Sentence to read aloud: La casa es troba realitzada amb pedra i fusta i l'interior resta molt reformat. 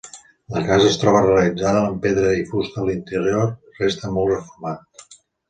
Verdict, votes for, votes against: accepted, 2, 1